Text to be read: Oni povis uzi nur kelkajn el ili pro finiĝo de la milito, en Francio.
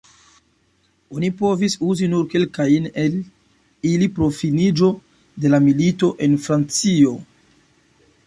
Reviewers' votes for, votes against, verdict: 2, 0, accepted